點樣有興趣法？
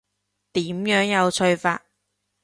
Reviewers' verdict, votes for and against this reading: rejected, 0, 2